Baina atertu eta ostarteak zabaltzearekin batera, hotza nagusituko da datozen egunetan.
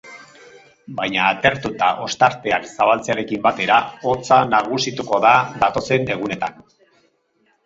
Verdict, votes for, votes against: accepted, 4, 0